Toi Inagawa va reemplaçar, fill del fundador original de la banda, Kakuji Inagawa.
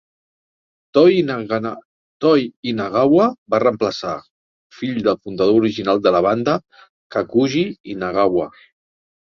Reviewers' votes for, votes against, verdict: 1, 2, rejected